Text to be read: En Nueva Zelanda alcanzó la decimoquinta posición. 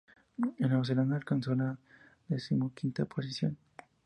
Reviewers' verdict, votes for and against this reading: rejected, 0, 2